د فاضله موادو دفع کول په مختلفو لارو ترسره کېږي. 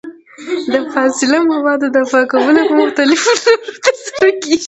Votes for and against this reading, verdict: 1, 2, rejected